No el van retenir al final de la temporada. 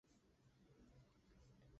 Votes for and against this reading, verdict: 0, 2, rejected